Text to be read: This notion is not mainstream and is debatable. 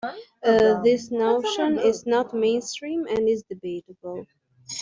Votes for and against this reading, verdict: 1, 2, rejected